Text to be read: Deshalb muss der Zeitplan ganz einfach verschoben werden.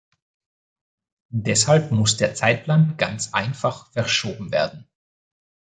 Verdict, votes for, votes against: accepted, 2, 0